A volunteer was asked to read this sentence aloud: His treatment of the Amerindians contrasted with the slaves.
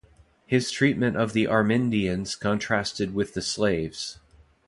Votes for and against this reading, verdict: 2, 0, accepted